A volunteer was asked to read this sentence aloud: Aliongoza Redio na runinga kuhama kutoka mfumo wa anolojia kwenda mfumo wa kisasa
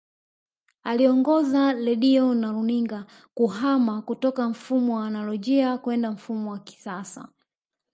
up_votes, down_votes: 1, 2